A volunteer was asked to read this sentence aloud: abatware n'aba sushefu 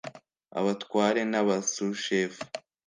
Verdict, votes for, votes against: accepted, 2, 0